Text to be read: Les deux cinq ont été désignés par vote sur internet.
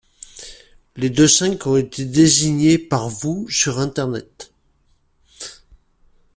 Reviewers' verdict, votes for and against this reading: rejected, 0, 2